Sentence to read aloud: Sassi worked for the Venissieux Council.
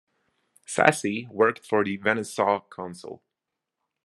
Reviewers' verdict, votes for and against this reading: rejected, 0, 2